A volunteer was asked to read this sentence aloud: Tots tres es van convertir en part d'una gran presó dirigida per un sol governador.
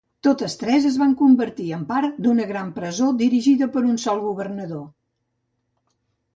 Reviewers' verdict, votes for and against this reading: rejected, 1, 2